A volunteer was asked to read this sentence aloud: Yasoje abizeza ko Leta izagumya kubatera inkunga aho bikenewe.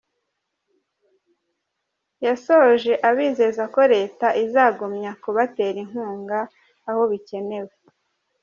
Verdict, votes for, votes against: accepted, 2, 0